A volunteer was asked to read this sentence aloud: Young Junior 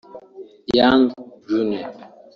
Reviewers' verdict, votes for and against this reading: rejected, 1, 2